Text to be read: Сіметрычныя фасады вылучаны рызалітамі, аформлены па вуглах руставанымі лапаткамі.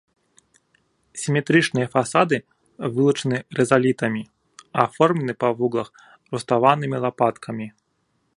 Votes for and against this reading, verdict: 1, 2, rejected